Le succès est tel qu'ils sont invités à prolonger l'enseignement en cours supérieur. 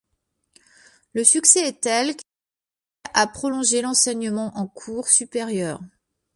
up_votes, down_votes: 0, 2